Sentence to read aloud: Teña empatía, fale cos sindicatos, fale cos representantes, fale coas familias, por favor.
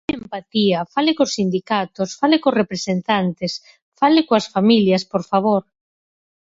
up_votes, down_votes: 0, 4